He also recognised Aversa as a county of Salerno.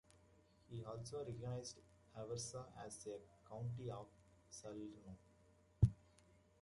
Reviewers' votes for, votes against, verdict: 0, 2, rejected